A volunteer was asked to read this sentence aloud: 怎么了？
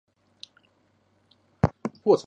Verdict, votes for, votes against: rejected, 0, 2